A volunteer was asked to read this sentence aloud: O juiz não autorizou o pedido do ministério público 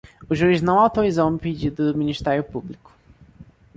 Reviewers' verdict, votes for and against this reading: rejected, 0, 2